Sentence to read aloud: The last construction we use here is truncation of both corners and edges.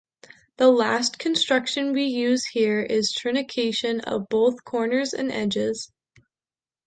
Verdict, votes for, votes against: rejected, 0, 2